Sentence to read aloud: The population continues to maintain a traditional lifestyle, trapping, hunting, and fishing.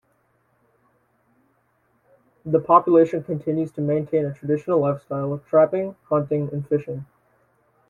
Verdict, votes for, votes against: rejected, 1, 2